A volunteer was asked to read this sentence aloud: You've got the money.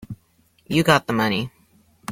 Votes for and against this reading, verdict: 1, 2, rejected